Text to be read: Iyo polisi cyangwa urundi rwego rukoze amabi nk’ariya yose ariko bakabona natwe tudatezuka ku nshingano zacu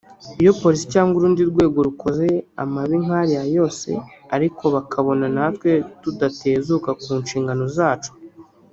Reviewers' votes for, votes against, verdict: 3, 0, accepted